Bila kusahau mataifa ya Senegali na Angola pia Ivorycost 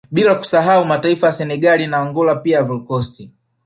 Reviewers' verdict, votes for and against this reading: rejected, 0, 2